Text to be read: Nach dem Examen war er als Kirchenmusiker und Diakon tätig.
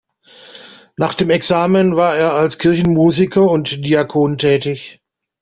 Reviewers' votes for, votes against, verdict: 2, 0, accepted